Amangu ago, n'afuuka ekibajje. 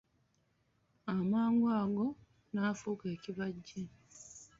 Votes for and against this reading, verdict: 2, 0, accepted